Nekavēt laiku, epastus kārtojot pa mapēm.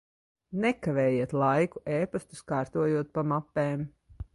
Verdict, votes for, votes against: rejected, 0, 2